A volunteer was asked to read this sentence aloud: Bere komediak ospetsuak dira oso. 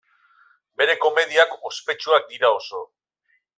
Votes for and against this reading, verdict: 2, 0, accepted